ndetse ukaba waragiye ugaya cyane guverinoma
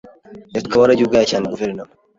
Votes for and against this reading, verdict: 0, 2, rejected